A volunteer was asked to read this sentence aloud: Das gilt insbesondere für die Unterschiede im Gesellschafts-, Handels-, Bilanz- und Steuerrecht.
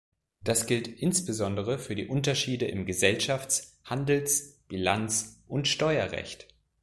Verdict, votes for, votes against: accepted, 2, 0